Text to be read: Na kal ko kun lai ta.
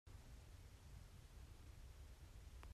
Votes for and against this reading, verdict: 0, 2, rejected